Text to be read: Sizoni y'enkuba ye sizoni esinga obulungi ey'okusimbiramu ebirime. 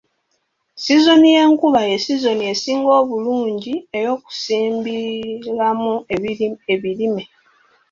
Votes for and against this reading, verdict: 2, 3, rejected